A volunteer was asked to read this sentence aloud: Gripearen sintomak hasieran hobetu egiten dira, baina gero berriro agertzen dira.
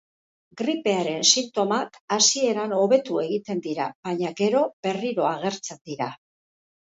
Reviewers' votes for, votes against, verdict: 4, 0, accepted